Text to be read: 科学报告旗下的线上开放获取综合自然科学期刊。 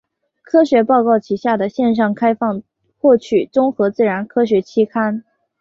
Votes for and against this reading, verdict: 2, 0, accepted